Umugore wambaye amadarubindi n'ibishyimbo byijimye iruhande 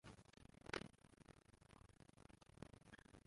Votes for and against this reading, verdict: 0, 2, rejected